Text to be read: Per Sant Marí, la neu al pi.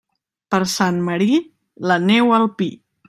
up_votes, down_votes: 2, 0